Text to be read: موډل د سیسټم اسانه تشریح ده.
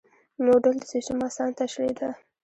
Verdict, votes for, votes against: accepted, 2, 1